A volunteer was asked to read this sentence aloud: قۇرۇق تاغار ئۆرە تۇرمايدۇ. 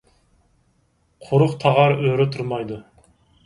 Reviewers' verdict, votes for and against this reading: accepted, 4, 0